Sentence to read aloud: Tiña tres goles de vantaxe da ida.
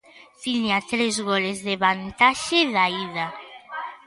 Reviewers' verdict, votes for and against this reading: accepted, 2, 0